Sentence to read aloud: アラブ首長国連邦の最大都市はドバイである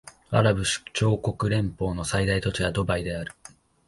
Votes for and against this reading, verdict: 2, 1, accepted